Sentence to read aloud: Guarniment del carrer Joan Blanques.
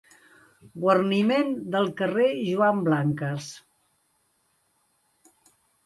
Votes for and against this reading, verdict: 2, 0, accepted